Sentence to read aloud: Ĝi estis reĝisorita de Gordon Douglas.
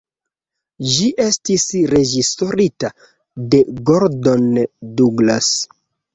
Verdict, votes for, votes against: accepted, 2, 0